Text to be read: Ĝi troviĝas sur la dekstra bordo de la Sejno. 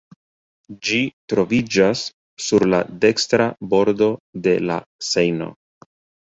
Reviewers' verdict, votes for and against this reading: accepted, 2, 0